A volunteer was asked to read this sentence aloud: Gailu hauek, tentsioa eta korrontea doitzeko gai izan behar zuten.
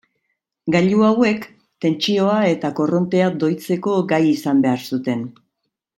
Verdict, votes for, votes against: accepted, 4, 0